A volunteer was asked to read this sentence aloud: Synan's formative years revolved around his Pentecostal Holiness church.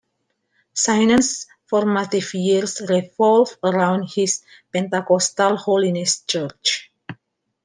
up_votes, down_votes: 0, 2